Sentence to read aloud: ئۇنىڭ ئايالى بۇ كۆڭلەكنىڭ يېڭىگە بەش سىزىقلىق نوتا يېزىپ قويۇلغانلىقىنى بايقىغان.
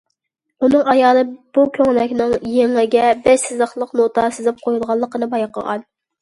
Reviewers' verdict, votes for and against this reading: rejected, 1, 2